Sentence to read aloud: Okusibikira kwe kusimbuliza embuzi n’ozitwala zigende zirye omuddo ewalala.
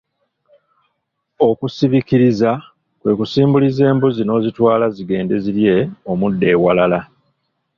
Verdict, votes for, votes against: rejected, 1, 2